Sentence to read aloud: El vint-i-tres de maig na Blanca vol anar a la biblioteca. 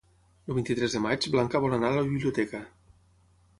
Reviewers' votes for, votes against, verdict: 0, 6, rejected